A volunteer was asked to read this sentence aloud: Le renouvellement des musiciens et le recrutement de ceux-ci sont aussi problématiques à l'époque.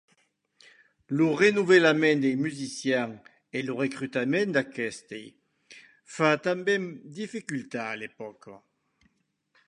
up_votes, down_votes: 1, 2